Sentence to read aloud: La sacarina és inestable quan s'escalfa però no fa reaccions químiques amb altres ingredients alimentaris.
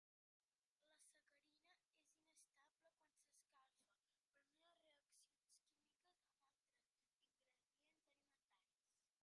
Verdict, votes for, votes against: rejected, 0, 2